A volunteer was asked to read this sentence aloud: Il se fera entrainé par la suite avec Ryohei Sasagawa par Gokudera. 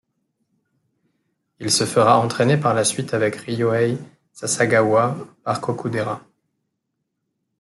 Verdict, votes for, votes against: rejected, 1, 2